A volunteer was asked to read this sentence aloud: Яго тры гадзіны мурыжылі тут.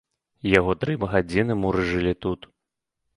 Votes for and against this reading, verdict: 1, 2, rejected